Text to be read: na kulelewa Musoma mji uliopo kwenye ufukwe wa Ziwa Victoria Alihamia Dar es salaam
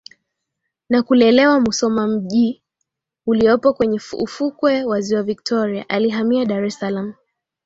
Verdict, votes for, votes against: rejected, 0, 2